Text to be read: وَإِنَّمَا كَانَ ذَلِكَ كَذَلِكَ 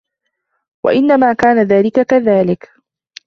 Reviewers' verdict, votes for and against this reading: accepted, 2, 0